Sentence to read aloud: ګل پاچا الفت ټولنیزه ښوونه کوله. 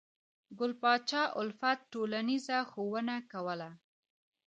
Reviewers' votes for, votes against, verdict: 3, 1, accepted